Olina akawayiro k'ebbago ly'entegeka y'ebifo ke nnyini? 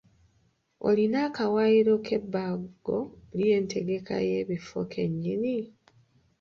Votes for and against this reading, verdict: 0, 2, rejected